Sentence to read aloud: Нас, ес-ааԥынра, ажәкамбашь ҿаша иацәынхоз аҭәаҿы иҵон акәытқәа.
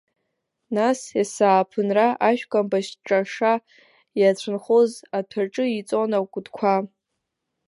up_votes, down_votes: 0, 2